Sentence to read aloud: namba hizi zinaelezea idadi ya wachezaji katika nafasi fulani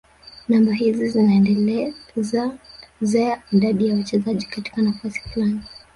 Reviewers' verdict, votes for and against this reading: rejected, 1, 3